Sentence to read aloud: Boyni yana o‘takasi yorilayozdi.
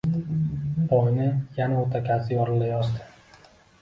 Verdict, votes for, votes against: accepted, 2, 0